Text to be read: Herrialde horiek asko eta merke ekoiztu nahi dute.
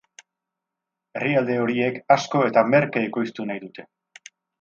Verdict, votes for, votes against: accepted, 4, 0